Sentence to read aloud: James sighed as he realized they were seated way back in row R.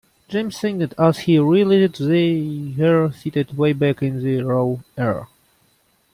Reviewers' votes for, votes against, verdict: 0, 2, rejected